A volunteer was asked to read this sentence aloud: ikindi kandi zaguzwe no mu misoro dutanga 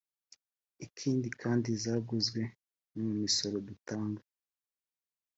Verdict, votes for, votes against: rejected, 0, 2